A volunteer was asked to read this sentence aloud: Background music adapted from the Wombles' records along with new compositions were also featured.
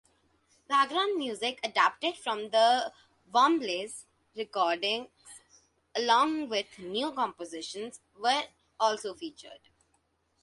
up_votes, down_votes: 2, 1